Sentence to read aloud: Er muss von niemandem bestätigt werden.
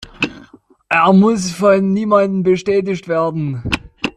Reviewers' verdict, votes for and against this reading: rejected, 1, 2